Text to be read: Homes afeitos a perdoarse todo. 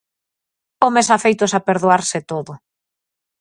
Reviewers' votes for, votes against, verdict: 4, 0, accepted